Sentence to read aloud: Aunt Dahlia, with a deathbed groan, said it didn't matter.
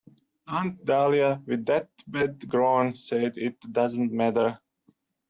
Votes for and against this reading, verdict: 1, 2, rejected